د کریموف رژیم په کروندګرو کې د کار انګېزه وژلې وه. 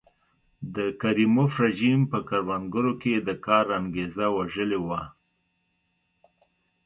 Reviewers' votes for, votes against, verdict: 2, 0, accepted